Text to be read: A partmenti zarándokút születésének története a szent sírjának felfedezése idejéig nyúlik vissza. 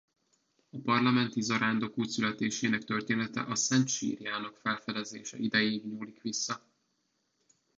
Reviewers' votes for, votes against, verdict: 1, 2, rejected